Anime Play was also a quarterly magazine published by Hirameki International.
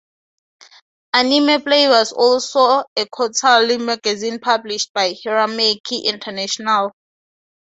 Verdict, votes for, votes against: rejected, 0, 2